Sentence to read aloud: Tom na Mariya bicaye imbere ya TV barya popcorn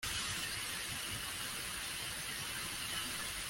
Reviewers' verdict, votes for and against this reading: rejected, 0, 2